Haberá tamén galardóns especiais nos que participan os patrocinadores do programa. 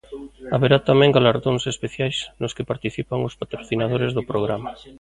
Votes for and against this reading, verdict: 2, 0, accepted